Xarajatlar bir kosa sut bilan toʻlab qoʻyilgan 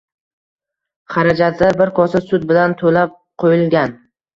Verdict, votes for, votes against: accepted, 2, 0